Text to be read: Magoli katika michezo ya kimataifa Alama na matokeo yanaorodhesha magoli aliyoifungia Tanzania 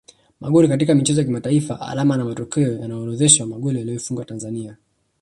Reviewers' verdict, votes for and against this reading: accepted, 2, 0